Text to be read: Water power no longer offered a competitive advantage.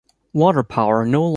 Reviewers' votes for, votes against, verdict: 0, 2, rejected